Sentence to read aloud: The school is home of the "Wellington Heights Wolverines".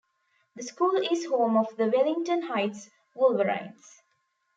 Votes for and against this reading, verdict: 2, 0, accepted